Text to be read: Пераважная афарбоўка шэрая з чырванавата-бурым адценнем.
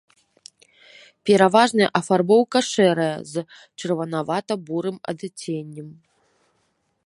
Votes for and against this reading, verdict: 2, 0, accepted